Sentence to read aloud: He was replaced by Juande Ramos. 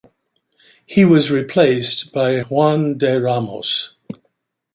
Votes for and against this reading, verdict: 1, 2, rejected